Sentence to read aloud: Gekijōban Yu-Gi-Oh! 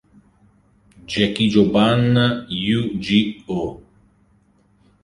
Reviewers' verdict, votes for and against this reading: accepted, 2, 0